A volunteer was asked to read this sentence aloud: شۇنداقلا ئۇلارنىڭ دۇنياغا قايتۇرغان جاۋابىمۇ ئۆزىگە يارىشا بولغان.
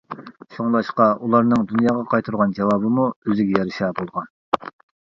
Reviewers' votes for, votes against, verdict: 0, 2, rejected